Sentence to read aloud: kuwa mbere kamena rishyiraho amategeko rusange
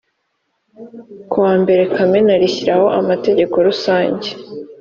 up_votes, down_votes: 2, 0